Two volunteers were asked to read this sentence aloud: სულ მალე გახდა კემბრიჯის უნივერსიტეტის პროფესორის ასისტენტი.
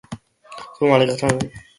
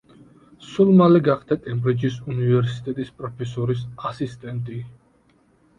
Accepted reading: second